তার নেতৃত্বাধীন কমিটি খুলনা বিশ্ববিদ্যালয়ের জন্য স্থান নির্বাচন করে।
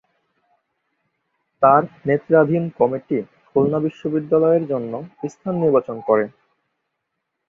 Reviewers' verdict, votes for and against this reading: rejected, 0, 2